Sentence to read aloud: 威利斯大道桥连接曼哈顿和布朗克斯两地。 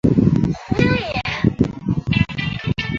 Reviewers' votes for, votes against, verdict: 0, 2, rejected